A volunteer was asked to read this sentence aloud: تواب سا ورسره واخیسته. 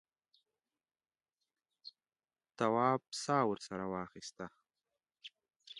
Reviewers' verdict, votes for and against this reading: accepted, 7, 1